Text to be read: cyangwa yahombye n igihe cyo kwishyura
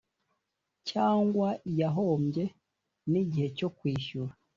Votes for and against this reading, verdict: 2, 0, accepted